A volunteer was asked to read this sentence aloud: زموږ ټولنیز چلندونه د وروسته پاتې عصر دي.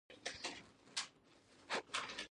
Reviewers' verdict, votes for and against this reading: rejected, 1, 2